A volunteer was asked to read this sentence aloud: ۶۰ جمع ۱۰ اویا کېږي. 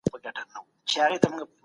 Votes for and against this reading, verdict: 0, 2, rejected